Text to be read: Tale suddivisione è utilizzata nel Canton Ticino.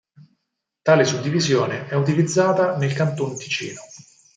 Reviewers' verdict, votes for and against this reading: accepted, 4, 0